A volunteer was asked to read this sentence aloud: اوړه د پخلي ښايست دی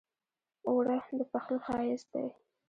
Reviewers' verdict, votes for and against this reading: rejected, 0, 2